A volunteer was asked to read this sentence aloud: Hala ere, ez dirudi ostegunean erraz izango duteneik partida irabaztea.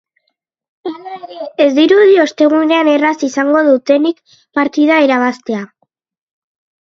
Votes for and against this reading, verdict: 0, 2, rejected